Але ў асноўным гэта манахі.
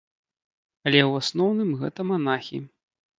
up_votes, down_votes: 2, 0